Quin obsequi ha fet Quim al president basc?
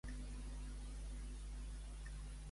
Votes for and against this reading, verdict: 0, 2, rejected